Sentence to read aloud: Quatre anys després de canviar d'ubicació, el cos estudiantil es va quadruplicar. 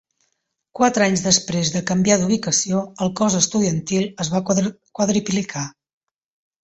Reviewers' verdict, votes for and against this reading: rejected, 1, 2